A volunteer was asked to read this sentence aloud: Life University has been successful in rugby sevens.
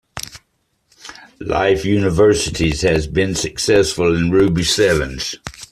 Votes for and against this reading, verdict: 1, 2, rejected